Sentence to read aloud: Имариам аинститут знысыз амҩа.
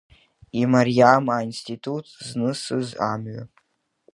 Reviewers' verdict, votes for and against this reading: accepted, 2, 0